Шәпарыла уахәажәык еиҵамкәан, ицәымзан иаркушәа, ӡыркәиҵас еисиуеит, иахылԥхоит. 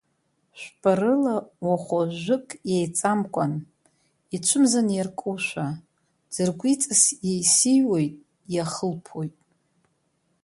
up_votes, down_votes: 2, 0